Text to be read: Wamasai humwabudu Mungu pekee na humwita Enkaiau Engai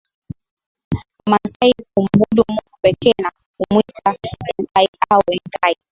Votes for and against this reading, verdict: 4, 0, accepted